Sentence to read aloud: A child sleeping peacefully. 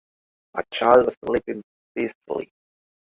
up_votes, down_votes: 1, 2